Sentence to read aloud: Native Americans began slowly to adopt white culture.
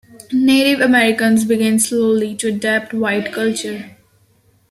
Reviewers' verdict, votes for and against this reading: accepted, 2, 0